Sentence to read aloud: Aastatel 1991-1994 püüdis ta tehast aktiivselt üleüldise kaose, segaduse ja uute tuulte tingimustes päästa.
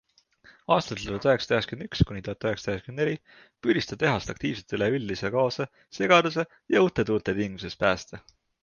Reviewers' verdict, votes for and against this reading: rejected, 0, 2